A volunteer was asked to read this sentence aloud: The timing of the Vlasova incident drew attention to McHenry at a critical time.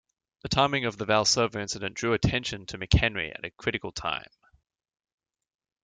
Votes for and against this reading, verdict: 1, 2, rejected